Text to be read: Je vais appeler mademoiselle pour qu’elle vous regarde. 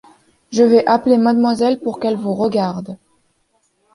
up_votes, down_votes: 2, 0